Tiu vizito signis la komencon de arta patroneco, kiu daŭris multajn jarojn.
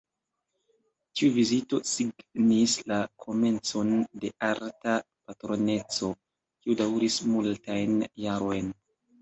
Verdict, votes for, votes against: accepted, 2, 0